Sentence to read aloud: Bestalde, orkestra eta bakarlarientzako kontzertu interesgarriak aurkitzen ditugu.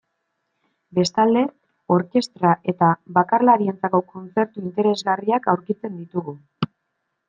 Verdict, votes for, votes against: accepted, 2, 0